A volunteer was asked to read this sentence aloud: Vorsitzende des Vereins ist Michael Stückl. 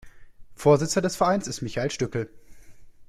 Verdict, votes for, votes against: rejected, 1, 2